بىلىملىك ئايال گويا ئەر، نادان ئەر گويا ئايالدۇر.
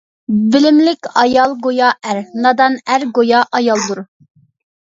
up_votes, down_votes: 2, 0